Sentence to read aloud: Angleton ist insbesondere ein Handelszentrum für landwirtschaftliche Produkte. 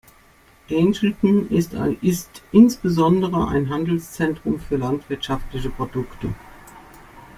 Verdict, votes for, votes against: rejected, 0, 2